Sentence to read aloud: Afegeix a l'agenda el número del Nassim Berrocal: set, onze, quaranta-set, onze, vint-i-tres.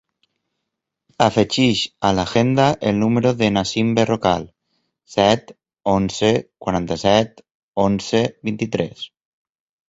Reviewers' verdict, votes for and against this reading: rejected, 0, 2